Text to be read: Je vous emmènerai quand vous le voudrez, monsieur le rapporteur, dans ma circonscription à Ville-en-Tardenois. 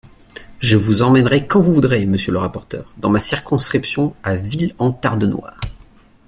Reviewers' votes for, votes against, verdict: 1, 2, rejected